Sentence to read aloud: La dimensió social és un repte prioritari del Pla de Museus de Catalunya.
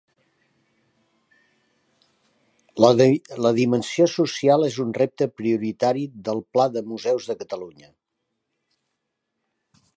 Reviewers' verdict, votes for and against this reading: rejected, 1, 2